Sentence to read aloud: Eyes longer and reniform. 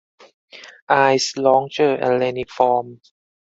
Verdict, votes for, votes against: rejected, 0, 4